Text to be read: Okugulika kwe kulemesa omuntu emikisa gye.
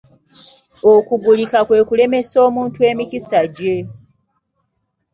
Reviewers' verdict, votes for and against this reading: accepted, 2, 0